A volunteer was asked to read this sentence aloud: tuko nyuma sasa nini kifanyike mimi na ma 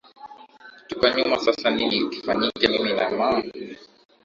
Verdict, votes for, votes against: accepted, 2, 1